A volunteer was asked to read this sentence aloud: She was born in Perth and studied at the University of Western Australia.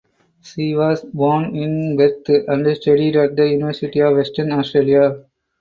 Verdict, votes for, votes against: rejected, 2, 4